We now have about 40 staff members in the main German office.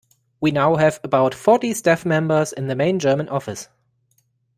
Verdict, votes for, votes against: rejected, 0, 2